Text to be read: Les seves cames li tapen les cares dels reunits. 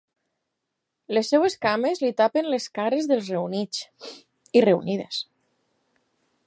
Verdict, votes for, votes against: rejected, 0, 4